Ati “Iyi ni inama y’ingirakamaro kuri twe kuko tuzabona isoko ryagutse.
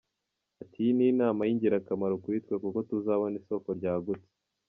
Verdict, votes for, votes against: accepted, 3, 0